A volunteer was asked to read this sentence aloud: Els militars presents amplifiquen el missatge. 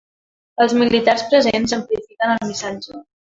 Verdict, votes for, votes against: rejected, 1, 2